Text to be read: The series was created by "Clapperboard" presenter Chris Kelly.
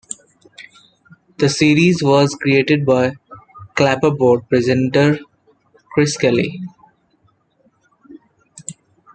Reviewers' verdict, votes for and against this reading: accepted, 2, 0